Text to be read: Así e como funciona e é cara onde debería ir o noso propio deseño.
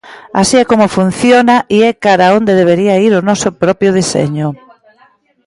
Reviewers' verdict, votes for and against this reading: accepted, 2, 1